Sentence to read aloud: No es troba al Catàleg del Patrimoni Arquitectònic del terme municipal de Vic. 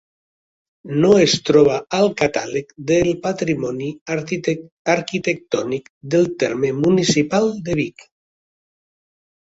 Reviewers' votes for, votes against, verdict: 1, 3, rejected